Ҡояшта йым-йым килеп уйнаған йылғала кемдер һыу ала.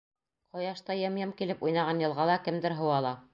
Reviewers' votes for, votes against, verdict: 2, 0, accepted